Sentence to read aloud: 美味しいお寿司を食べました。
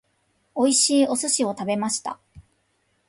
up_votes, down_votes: 3, 0